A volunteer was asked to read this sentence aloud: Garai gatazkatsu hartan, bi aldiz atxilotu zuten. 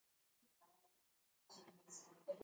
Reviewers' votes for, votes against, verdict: 0, 3, rejected